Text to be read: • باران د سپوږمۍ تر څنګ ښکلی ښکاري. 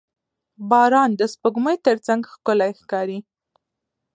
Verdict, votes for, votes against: accepted, 2, 0